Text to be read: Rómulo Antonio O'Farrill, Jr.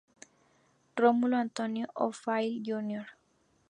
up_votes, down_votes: 2, 0